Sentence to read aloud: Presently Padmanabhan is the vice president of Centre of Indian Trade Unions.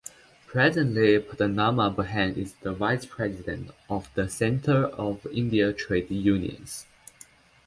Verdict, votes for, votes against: rejected, 0, 2